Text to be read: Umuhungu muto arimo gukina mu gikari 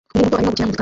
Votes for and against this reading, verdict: 0, 2, rejected